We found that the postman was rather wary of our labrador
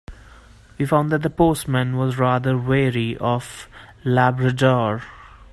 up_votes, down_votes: 0, 2